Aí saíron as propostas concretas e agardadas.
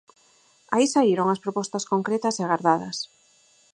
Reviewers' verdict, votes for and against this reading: accepted, 4, 0